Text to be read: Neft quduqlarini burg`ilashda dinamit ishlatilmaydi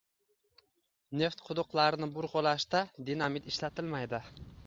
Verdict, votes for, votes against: accepted, 2, 0